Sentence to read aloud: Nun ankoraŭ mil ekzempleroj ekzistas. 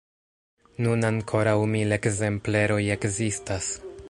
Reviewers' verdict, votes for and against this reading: accepted, 2, 0